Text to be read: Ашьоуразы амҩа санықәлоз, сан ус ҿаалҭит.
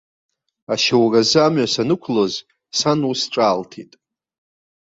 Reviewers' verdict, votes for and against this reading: rejected, 0, 2